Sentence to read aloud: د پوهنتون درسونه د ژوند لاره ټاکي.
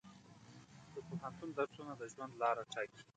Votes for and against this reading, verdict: 2, 1, accepted